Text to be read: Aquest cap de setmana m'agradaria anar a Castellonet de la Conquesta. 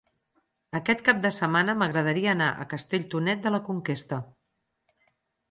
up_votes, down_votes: 0, 4